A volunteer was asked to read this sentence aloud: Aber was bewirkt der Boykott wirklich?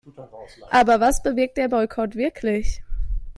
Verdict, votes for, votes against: accepted, 2, 0